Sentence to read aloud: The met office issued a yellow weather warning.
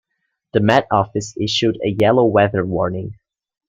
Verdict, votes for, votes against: accepted, 2, 0